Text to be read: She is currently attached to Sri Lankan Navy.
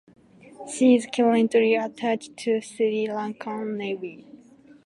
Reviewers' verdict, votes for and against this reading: accepted, 2, 1